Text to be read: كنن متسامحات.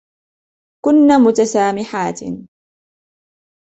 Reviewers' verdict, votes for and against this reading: accepted, 2, 0